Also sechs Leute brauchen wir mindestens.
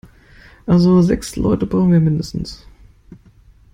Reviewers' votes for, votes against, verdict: 2, 0, accepted